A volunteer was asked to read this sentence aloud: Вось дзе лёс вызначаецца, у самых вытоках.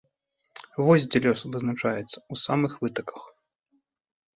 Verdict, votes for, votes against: rejected, 0, 2